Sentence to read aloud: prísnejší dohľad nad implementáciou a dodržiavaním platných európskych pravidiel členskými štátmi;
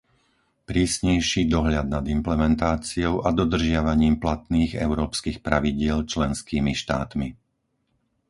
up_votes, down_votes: 4, 0